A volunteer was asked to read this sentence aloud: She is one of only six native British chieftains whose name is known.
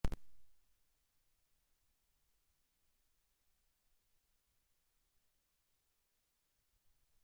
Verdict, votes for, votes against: rejected, 0, 2